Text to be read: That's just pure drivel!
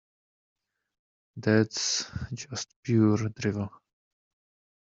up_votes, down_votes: 2, 1